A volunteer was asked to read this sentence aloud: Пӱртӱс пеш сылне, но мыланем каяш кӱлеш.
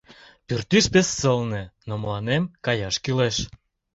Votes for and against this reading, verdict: 2, 1, accepted